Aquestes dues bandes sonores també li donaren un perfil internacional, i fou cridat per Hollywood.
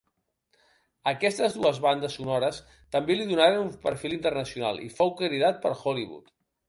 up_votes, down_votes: 1, 2